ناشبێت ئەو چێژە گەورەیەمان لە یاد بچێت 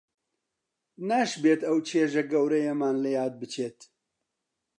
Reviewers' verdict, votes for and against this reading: accepted, 2, 0